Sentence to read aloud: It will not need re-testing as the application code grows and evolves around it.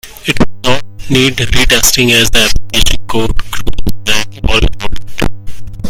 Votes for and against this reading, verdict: 0, 2, rejected